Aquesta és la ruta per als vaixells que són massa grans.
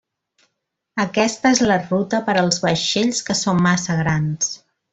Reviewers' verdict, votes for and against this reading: rejected, 0, 2